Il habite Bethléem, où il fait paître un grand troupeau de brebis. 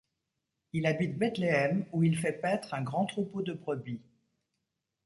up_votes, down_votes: 2, 0